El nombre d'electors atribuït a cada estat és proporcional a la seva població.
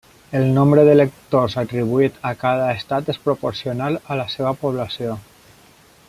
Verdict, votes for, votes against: accepted, 2, 0